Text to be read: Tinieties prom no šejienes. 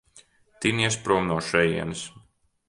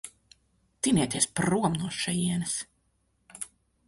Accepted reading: second